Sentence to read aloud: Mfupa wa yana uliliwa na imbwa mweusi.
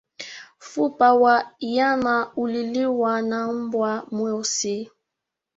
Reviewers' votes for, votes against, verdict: 2, 0, accepted